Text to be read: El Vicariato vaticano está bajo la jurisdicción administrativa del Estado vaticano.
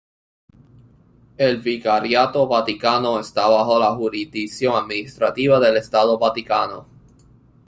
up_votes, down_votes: 2, 0